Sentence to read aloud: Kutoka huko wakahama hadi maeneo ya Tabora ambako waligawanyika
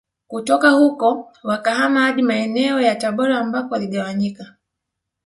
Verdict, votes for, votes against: rejected, 0, 2